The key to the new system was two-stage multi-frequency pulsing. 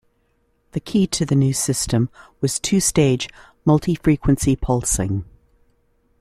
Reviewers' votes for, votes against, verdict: 2, 0, accepted